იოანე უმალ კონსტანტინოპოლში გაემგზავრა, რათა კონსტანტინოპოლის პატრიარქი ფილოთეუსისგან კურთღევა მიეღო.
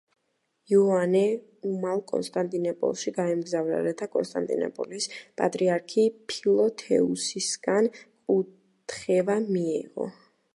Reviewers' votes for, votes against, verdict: 1, 2, rejected